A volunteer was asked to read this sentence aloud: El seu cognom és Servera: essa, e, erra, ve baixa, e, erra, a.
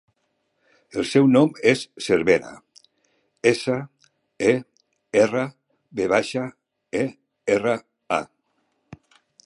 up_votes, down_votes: 1, 2